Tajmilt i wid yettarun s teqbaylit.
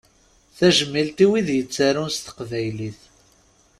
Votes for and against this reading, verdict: 2, 0, accepted